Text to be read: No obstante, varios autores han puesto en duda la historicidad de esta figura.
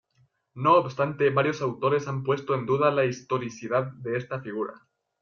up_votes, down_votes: 2, 1